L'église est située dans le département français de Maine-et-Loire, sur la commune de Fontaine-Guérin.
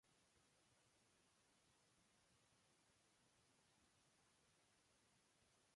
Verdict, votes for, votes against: rejected, 0, 2